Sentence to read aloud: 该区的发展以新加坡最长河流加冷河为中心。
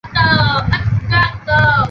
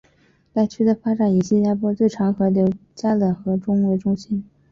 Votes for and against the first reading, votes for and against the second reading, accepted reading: 1, 4, 4, 0, second